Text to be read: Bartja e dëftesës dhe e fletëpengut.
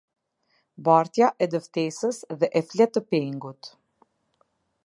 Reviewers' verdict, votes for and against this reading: accepted, 2, 0